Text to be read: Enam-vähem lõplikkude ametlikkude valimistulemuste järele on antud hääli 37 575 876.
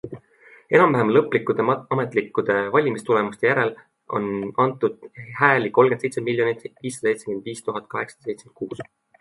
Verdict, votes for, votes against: rejected, 0, 2